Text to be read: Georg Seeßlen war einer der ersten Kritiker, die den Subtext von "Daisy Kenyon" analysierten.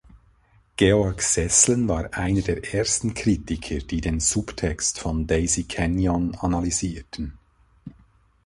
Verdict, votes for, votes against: accepted, 2, 0